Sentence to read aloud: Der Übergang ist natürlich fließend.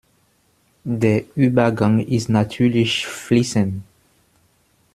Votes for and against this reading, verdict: 2, 0, accepted